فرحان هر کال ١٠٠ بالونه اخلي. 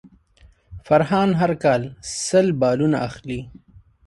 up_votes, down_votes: 0, 2